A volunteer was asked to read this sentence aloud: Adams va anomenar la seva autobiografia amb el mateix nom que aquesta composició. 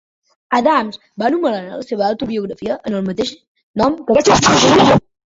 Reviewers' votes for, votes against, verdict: 0, 2, rejected